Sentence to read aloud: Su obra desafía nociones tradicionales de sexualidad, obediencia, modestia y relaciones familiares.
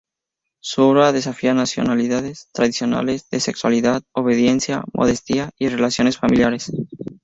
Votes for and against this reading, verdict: 0, 2, rejected